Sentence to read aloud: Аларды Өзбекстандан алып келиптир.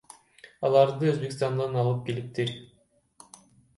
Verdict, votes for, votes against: rejected, 1, 2